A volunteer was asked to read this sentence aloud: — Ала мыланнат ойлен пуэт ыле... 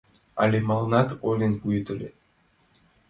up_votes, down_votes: 2, 1